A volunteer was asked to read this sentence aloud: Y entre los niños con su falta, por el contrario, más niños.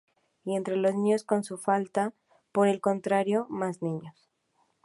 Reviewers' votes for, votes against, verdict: 2, 0, accepted